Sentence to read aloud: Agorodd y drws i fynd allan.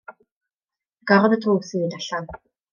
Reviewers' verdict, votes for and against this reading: rejected, 1, 2